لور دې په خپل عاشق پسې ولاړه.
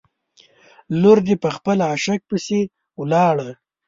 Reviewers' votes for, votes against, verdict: 2, 0, accepted